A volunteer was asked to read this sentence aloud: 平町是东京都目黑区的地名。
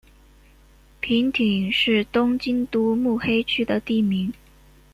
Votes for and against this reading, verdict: 1, 2, rejected